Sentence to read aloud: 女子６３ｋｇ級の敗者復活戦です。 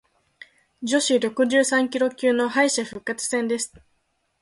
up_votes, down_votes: 0, 2